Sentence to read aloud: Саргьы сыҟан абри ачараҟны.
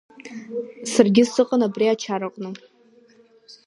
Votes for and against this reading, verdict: 5, 1, accepted